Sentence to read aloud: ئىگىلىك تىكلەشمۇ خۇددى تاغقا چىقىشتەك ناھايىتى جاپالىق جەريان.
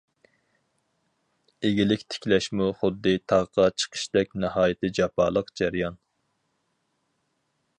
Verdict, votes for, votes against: accepted, 4, 0